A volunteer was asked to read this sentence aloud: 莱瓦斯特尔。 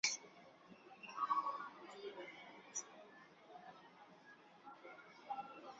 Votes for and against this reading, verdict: 0, 2, rejected